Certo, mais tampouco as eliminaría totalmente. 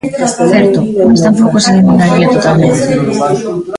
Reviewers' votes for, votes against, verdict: 0, 2, rejected